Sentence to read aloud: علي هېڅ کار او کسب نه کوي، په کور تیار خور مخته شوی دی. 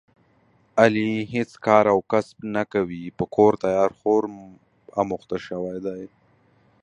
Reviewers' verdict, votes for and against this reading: rejected, 0, 2